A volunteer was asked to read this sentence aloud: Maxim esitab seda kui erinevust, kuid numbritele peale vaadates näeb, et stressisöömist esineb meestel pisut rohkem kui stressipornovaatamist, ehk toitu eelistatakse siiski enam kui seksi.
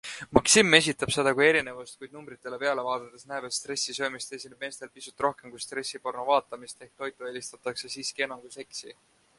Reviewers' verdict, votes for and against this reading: accepted, 2, 1